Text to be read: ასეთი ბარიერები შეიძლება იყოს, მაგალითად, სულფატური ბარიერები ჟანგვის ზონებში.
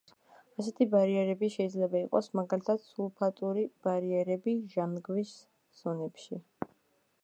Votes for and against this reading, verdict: 0, 2, rejected